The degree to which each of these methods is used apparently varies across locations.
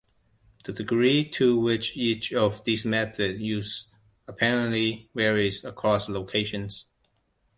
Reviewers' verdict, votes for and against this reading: rejected, 0, 2